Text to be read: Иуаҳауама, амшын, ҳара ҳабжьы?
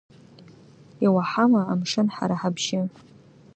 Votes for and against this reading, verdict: 1, 2, rejected